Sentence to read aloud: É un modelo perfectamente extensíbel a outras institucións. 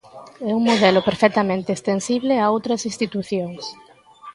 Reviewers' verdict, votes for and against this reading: rejected, 0, 2